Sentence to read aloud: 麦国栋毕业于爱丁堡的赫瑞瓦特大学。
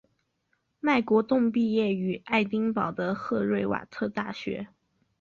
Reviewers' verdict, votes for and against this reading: accepted, 5, 0